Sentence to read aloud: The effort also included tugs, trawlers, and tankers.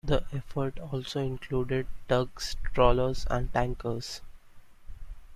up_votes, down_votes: 2, 0